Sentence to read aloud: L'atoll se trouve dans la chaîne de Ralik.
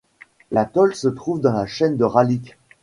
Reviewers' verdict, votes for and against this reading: accepted, 2, 0